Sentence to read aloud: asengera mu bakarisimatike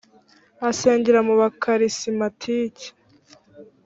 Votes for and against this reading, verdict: 2, 0, accepted